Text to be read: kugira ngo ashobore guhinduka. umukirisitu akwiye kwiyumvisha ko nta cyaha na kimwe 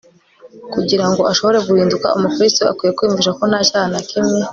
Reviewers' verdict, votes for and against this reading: accepted, 3, 0